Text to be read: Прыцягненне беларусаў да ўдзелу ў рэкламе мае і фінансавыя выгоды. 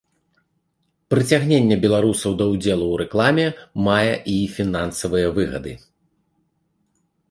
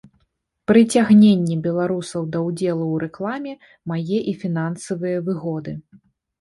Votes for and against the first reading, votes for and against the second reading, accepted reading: 1, 2, 2, 1, second